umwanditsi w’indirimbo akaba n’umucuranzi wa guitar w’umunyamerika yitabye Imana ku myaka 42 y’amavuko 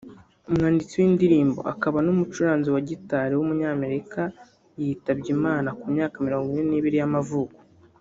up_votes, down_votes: 0, 2